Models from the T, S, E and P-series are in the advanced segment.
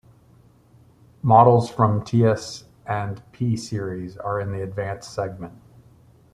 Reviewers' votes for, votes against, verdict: 1, 2, rejected